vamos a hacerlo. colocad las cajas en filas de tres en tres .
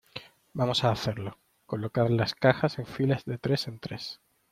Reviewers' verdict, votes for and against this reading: accepted, 2, 0